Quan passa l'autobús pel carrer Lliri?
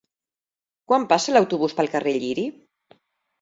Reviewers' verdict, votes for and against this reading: accepted, 3, 0